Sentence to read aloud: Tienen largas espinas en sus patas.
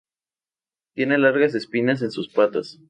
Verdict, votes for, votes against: rejected, 0, 2